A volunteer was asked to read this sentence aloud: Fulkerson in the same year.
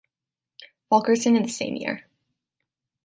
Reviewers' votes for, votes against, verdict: 2, 1, accepted